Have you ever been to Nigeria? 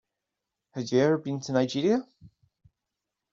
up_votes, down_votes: 2, 1